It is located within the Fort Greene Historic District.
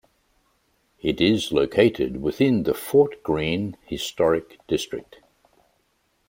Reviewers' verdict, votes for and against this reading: accepted, 2, 0